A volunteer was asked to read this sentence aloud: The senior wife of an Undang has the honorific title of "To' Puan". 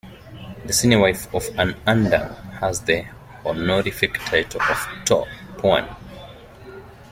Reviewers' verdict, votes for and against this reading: accepted, 2, 1